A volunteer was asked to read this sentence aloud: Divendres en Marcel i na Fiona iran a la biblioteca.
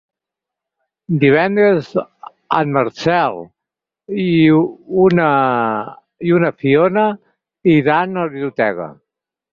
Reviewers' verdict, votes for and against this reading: rejected, 0, 4